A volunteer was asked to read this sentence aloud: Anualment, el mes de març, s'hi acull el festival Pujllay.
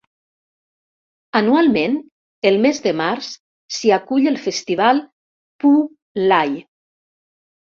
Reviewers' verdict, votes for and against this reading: rejected, 1, 2